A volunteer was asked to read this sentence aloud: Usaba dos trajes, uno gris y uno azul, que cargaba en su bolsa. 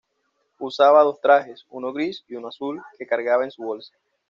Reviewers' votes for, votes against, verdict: 2, 0, accepted